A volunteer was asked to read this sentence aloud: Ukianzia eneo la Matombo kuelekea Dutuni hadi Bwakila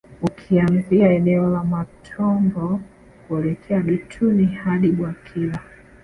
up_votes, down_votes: 2, 1